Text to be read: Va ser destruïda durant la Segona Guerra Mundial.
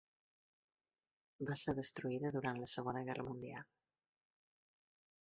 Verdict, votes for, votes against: accepted, 4, 2